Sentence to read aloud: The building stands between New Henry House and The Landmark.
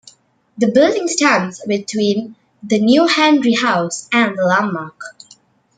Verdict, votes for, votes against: rejected, 1, 2